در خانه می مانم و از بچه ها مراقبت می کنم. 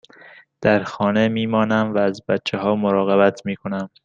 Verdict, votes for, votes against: accepted, 2, 0